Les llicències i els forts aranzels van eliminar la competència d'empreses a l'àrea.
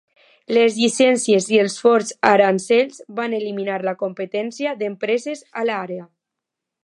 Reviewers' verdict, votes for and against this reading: accepted, 2, 1